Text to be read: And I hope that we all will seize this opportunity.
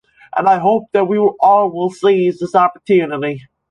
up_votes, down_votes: 1, 2